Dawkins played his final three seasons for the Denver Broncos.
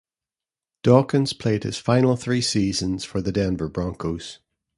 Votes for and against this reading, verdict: 2, 0, accepted